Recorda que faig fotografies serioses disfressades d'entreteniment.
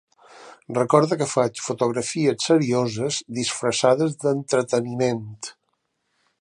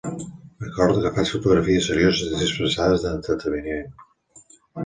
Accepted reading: first